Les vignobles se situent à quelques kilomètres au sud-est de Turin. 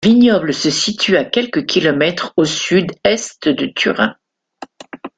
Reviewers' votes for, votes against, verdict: 0, 2, rejected